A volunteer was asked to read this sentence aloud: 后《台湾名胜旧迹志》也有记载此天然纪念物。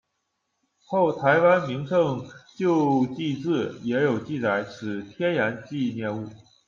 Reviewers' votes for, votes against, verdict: 2, 0, accepted